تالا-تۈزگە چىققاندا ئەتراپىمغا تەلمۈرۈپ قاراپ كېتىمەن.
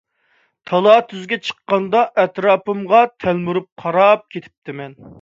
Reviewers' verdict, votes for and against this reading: rejected, 0, 2